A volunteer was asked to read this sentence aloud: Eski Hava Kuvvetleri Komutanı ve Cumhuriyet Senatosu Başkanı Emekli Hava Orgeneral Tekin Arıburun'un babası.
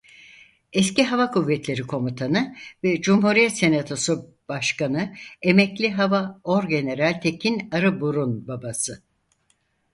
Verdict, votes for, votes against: rejected, 0, 4